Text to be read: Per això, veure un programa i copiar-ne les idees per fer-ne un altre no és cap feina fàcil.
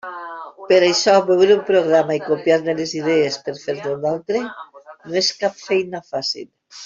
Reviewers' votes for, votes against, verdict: 0, 2, rejected